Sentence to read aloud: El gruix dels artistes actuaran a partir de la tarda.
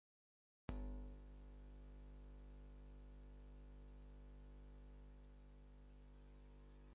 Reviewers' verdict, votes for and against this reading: rejected, 0, 4